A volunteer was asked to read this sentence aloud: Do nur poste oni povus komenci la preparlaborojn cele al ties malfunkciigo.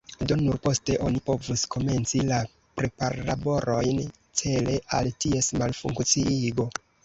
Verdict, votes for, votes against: rejected, 1, 2